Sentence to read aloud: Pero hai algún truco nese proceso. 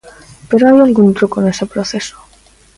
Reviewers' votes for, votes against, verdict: 2, 0, accepted